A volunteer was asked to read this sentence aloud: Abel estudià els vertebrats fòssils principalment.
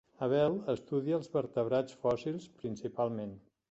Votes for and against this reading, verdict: 0, 2, rejected